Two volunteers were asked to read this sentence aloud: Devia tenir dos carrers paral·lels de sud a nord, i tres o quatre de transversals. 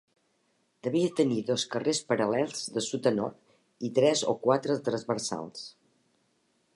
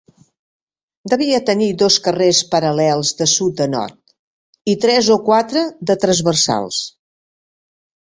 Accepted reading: second